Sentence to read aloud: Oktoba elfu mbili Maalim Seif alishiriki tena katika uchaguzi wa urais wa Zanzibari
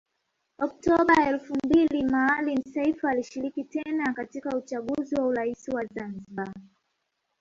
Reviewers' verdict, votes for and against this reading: rejected, 0, 2